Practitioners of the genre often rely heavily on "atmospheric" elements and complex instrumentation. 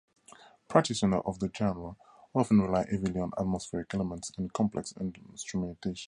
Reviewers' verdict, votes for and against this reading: rejected, 0, 4